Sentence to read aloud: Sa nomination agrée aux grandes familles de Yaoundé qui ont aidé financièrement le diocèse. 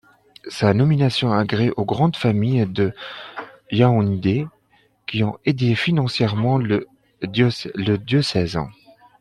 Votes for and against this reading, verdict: 0, 2, rejected